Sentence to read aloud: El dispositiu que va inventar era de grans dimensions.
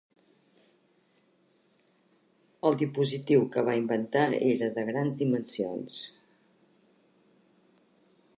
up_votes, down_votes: 1, 2